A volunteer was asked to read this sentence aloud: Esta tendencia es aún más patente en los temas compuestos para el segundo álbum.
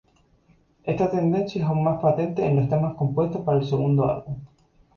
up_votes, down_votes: 2, 0